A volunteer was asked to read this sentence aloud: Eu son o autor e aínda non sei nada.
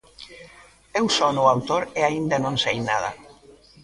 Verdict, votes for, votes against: accepted, 2, 0